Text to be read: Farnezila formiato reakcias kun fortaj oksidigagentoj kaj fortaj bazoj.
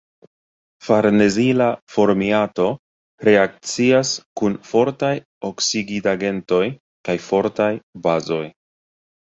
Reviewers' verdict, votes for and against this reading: rejected, 0, 2